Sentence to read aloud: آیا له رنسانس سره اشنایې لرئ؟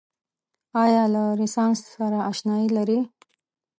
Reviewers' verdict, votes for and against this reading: rejected, 1, 2